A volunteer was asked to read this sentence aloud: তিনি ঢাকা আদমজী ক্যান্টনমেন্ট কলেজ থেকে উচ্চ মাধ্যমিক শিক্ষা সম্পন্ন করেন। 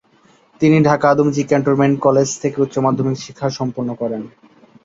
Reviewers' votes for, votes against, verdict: 2, 0, accepted